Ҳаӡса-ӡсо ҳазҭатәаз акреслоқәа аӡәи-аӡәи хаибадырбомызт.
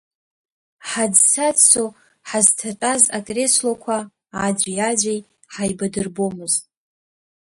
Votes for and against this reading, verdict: 1, 2, rejected